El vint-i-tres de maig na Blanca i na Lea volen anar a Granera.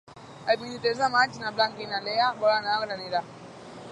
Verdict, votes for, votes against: rejected, 2, 3